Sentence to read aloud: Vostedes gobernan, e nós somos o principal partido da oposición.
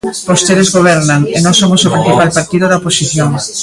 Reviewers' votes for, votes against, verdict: 1, 2, rejected